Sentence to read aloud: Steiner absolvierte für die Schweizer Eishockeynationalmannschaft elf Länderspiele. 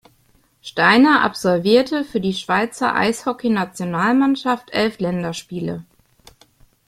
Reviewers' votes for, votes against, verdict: 2, 0, accepted